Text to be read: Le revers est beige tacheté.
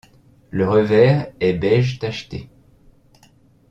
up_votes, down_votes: 2, 0